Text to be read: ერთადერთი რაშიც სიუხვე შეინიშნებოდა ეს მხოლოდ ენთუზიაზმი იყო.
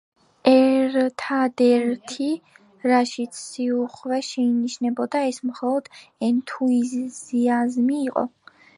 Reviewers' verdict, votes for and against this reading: rejected, 1, 2